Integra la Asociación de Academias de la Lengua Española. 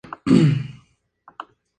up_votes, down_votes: 0, 4